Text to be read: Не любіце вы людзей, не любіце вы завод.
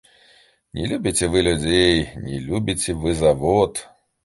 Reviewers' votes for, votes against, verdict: 2, 0, accepted